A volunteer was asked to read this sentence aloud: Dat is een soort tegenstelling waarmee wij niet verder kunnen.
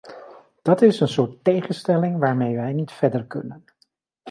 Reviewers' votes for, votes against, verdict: 2, 0, accepted